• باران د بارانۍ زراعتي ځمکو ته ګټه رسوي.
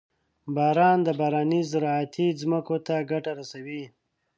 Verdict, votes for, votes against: accepted, 2, 0